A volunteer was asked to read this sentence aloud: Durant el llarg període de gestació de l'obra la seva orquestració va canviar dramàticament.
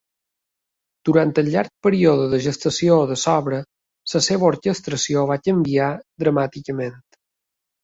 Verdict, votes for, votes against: rejected, 1, 2